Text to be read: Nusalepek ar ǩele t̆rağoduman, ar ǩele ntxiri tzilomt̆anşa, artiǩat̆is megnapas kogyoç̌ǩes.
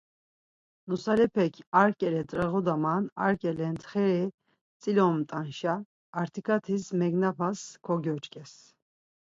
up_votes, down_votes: 4, 0